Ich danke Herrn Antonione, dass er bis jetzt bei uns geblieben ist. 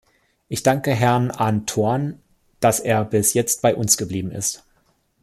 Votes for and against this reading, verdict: 0, 2, rejected